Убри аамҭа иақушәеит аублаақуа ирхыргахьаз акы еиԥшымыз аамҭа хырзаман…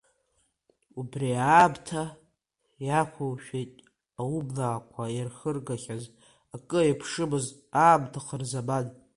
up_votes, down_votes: 2, 3